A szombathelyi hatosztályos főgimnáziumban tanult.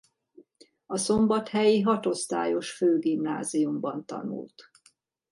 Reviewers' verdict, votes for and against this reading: accepted, 2, 0